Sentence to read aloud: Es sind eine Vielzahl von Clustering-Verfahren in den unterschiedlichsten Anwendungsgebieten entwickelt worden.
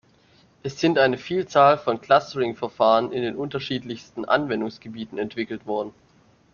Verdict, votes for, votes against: accepted, 2, 0